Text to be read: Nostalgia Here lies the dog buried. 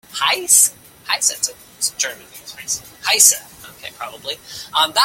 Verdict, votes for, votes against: rejected, 0, 2